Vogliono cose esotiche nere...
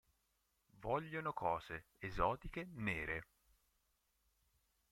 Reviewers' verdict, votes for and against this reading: rejected, 2, 3